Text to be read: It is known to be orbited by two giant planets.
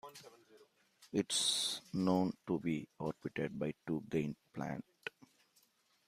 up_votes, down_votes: 0, 2